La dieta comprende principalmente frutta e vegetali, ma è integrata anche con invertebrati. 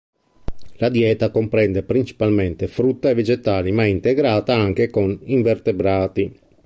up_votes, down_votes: 2, 0